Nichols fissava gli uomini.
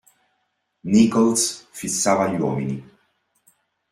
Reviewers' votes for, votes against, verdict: 2, 0, accepted